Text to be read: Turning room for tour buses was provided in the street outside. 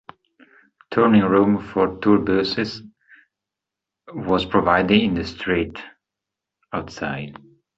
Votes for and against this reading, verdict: 1, 2, rejected